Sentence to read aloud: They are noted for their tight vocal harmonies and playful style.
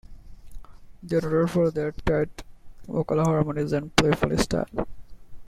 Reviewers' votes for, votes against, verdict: 1, 2, rejected